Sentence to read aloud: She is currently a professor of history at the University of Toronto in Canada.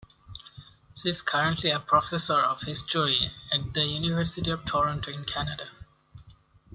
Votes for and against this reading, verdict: 1, 2, rejected